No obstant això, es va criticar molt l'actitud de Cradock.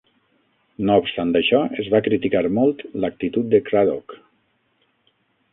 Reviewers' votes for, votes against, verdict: 3, 6, rejected